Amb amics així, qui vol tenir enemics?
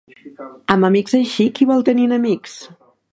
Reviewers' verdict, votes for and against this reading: accepted, 3, 0